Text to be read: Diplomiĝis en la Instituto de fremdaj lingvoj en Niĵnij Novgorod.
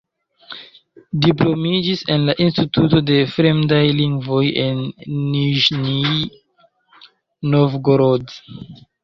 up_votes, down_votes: 0, 2